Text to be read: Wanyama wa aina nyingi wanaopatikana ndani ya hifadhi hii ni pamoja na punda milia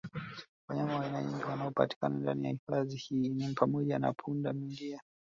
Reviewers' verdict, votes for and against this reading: rejected, 1, 2